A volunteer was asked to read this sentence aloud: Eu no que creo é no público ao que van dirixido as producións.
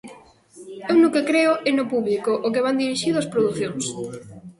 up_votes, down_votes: 1, 2